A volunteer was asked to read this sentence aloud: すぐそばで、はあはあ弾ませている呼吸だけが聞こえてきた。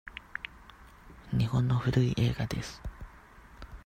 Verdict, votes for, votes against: rejected, 0, 2